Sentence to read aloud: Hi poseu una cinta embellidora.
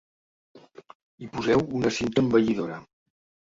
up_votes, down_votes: 2, 0